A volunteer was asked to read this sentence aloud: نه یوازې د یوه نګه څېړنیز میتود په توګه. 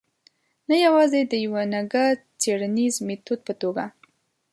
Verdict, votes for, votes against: accepted, 2, 0